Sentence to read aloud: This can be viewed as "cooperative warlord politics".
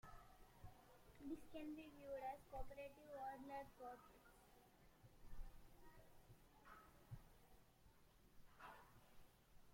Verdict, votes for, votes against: rejected, 0, 2